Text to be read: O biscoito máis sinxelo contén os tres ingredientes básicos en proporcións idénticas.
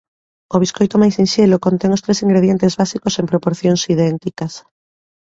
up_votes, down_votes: 2, 0